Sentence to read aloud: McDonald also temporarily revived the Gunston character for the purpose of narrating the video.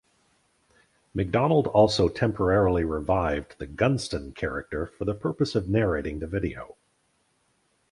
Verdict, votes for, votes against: accepted, 4, 0